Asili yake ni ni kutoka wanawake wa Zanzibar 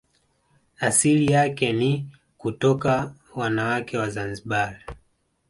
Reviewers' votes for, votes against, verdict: 2, 1, accepted